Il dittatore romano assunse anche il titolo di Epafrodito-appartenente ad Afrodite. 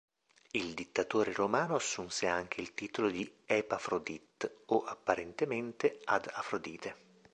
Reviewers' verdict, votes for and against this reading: rejected, 0, 2